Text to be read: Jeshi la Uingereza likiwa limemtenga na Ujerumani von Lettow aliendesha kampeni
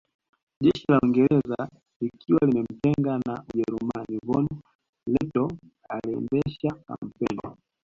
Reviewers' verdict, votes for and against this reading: accepted, 2, 1